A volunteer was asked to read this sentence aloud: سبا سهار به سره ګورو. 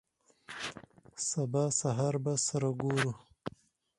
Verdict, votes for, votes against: accepted, 4, 0